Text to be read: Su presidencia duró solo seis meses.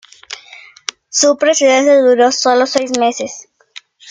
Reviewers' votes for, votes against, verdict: 2, 1, accepted